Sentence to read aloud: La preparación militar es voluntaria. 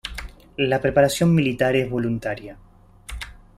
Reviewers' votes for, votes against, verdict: 2, 0, accepted